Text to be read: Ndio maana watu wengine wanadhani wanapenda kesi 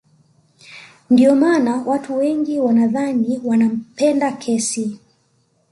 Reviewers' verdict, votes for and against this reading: accepted, 2, 1